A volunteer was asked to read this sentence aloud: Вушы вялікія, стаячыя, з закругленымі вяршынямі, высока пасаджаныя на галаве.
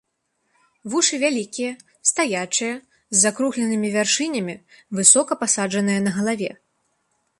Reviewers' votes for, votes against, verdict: 2, 0, accepted